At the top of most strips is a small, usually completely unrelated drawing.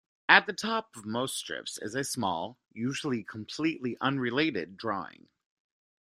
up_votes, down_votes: 2, 1